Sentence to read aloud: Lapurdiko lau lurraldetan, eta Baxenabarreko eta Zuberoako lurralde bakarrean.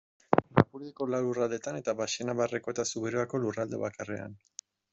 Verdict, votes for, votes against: accepted, 2, 1